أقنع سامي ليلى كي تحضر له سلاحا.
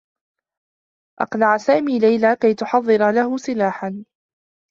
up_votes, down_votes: 0, 2